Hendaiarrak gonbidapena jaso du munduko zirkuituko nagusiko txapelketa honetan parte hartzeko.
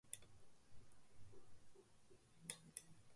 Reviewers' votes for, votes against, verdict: 0, 4, rejected